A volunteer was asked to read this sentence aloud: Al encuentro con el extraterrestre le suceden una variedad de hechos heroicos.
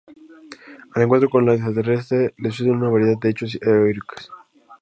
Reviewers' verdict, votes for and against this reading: rejected, 0, 2